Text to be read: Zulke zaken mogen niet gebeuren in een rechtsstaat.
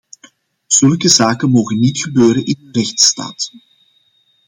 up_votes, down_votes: 0, 2